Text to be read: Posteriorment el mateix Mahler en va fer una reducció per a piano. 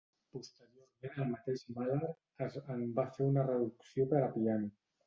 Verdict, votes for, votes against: rejected, 1, 2